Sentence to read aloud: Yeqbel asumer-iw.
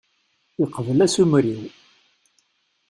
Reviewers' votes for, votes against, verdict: 2, 0, accepted